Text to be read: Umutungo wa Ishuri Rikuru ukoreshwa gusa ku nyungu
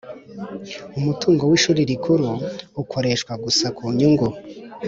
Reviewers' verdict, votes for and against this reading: accepted, 2, 0